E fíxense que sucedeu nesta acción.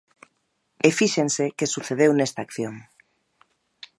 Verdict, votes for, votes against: accepted, 2, 0